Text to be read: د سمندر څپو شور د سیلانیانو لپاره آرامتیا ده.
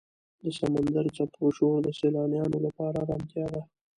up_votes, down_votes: 2, 1